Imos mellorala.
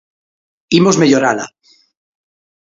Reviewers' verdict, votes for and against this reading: accepted, 2, 0